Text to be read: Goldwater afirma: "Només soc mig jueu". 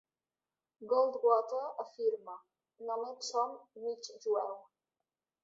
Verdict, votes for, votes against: rejected, 0, 2